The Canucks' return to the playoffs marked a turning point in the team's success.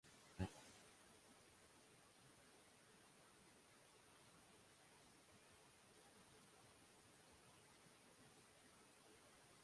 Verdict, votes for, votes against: rejected, 1, 2